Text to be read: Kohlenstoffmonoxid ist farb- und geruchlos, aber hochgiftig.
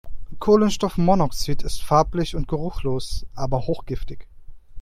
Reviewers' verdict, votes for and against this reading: rejected, 0, 2